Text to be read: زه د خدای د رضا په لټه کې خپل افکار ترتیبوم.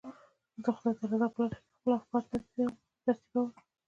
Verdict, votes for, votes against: rejected, 0, 2